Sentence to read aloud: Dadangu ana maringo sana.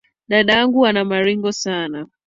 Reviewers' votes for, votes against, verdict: 2, 0, accepted